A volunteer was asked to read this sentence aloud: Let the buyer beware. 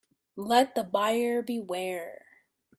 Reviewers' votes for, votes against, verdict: 2, 0, accepted